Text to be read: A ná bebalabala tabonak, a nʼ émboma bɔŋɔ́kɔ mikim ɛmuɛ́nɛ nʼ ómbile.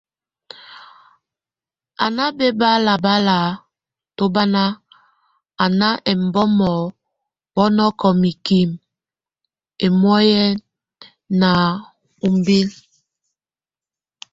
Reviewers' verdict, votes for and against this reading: rejected, 0, 2